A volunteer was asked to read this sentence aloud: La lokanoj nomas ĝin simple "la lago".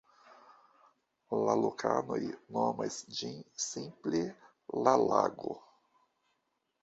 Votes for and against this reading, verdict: 2, 0, accepted